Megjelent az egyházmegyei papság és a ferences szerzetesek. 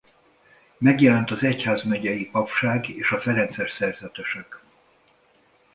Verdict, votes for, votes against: accepted, 2, 0